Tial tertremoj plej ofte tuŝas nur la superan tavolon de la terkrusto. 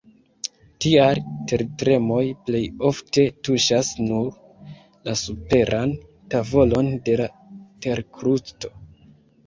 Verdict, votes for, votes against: rejected, 0, 2